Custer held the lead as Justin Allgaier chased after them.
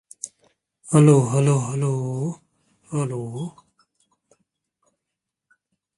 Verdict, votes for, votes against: rejected, 0, 2